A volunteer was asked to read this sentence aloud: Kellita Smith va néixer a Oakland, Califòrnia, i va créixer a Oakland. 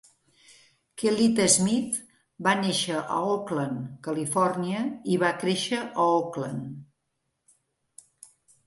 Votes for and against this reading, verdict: 2, 0, accepted